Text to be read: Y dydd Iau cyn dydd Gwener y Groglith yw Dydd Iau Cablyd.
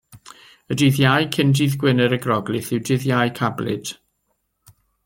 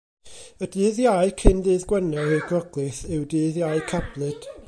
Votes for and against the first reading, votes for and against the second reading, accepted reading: 2, 0, 1, 2, first